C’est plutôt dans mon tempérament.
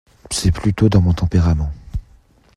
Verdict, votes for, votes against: accepted, 2, 0